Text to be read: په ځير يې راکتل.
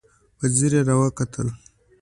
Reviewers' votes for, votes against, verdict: 2, 0, accepted